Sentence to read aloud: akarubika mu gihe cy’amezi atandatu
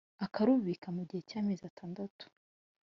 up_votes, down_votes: 2, 0